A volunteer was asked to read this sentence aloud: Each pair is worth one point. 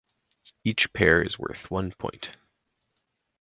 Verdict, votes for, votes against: accepted, 4, 0